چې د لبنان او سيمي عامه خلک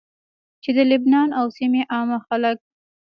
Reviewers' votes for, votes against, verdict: 2, 1, accepted